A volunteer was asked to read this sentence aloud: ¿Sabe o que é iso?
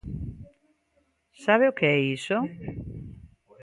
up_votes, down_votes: 2, 1